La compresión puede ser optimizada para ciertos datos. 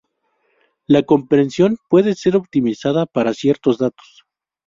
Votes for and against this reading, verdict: 0, 2, rejected